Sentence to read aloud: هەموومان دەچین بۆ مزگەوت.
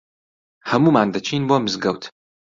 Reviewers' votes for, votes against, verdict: 2, 0, accepted